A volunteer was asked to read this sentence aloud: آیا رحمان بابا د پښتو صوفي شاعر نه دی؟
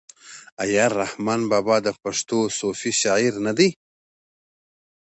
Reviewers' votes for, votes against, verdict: 2, 0, accepted